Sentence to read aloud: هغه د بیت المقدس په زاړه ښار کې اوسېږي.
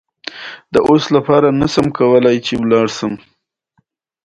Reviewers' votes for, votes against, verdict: 2, 1, accepted